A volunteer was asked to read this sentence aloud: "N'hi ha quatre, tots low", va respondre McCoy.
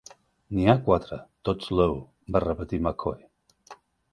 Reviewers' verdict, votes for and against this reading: rejected, 0, 2